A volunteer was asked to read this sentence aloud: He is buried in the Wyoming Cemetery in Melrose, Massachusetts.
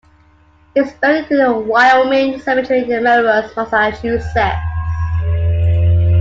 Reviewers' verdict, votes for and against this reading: accepted, 2, 1